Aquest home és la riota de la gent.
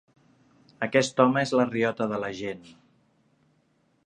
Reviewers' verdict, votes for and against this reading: accepted, 2, 0